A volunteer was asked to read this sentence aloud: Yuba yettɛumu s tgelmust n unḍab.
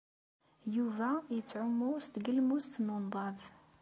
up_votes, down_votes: 2, 0